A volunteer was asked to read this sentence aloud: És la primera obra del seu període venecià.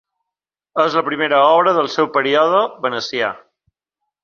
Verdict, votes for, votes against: accepted, 2, 0